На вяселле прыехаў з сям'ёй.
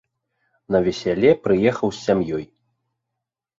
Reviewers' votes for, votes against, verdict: 1, 2, rejected